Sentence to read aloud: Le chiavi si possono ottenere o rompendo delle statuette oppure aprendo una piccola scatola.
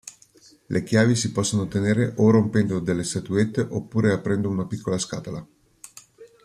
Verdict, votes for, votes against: accepted, 2, 0